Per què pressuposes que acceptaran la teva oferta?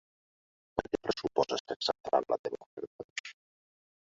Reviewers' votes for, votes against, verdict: 1, 2, rejected